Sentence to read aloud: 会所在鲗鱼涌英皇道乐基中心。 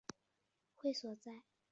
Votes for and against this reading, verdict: 1, 2, rejected